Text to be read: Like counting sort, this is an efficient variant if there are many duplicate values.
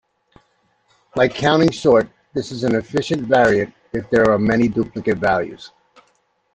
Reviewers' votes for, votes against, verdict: 2, 0, accepted